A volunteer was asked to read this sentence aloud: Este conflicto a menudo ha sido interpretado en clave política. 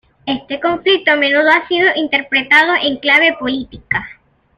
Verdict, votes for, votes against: accepted, 2, 0